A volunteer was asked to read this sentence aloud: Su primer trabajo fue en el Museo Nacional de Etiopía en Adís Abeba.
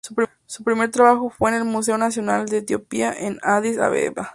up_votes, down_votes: 2, 4